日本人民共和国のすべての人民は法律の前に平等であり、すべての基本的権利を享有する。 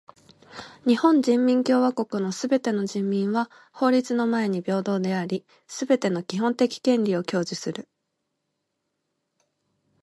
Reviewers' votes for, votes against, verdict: 1, 2, rejected